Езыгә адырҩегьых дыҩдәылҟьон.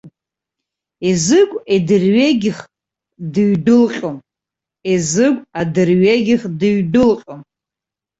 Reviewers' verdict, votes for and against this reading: rejected, 1, 2